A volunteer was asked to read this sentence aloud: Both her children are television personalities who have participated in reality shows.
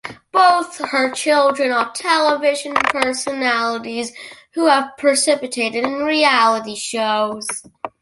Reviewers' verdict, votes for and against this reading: accepted, 2, 1